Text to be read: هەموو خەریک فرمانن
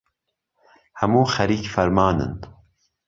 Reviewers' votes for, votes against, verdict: 2, 0, accepted